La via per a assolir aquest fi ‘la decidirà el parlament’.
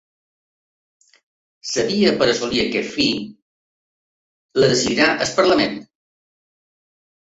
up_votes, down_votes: 0, 2